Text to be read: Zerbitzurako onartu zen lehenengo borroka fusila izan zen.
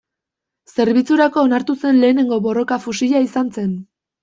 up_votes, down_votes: 2, 0